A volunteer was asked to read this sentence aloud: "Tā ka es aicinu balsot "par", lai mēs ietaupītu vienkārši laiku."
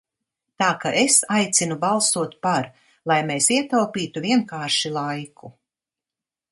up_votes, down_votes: 2, 0